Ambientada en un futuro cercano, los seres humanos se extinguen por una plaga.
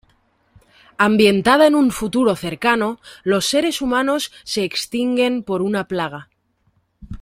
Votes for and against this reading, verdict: 2, 0, accepted